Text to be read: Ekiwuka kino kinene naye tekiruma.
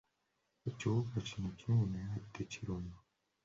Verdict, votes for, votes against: rejected, 1, 2